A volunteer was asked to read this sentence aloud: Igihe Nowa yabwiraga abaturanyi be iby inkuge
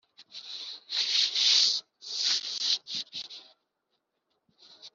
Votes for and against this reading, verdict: 0, 2, rejected